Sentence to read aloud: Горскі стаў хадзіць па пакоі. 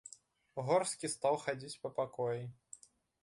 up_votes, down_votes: 2, 0